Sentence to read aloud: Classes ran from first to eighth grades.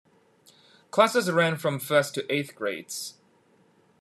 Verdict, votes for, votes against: accepted, 2, 0